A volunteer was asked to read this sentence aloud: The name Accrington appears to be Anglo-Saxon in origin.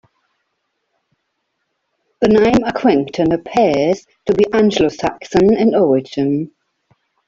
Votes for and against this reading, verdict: 0, 2, rejected